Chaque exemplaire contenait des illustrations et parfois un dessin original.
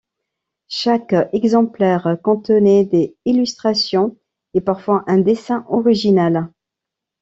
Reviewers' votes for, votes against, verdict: 1, 2, rejected